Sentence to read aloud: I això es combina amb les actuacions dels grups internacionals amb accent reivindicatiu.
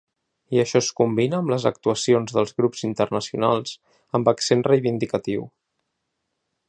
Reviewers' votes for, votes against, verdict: 3, 0, accepted